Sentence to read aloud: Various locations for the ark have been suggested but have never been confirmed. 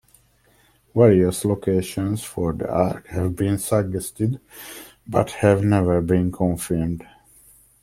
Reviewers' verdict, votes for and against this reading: accepted, 2, 0